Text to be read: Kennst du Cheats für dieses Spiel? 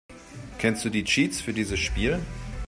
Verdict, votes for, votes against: rejected, 1, 2